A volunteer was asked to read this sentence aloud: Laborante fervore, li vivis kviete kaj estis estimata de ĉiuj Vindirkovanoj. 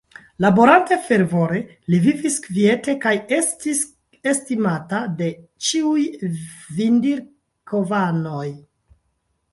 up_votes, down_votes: 0, 2